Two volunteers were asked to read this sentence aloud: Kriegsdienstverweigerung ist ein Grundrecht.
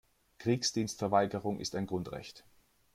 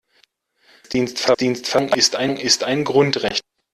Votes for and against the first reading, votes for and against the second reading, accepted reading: 2, 0, 0, 2, first